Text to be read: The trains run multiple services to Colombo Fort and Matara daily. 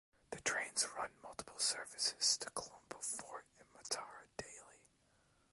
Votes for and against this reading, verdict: 2, 1, accepted